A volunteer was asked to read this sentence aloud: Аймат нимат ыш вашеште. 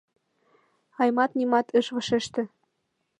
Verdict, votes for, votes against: accepted, 2, 0